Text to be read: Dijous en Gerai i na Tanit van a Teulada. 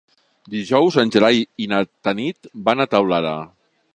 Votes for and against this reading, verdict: 3, 0, accepted